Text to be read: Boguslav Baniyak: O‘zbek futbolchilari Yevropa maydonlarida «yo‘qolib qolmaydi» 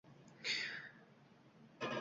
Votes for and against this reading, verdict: 0, 2, rejected